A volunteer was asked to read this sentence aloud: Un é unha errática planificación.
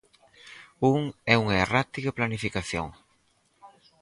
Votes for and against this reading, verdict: 4, 0, accepted